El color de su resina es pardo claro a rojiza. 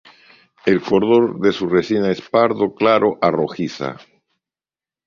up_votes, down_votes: 2, 0